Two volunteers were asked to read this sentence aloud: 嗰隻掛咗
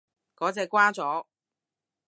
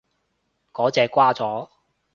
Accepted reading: second